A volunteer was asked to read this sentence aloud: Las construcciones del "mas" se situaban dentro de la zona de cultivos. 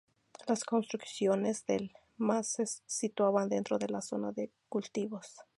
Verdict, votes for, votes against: accepted, 2, 0